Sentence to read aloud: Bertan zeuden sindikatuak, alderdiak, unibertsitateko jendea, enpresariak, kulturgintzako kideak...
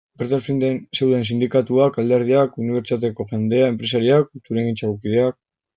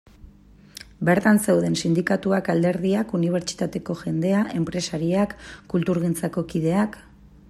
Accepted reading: second